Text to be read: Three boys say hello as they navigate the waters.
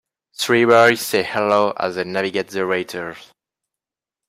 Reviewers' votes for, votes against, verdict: 2, 0, accepted